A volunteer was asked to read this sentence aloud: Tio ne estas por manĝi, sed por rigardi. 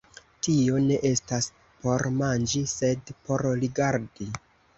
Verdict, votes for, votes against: rejected, 1, 2